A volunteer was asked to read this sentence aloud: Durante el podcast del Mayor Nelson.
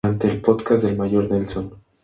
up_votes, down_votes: 2, 0